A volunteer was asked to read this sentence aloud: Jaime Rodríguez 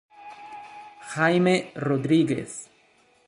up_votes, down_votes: 1, 2